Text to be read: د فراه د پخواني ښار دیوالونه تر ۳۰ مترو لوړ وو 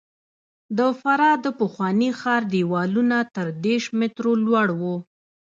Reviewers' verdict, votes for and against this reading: rejected, 0, 2